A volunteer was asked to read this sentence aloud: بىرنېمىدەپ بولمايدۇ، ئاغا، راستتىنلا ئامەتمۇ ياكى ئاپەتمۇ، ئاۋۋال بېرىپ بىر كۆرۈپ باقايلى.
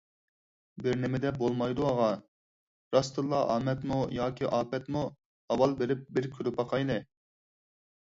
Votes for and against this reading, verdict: 4, 2, accepted